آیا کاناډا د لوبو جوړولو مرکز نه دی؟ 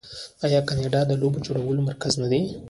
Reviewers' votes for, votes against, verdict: 2, 1, accepted